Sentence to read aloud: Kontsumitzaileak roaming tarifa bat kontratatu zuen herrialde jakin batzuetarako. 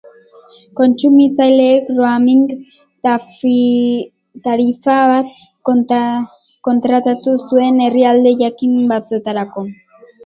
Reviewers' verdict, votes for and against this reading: rejected, 0, 7